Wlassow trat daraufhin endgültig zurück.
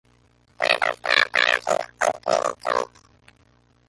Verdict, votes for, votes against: rejected, 0, 2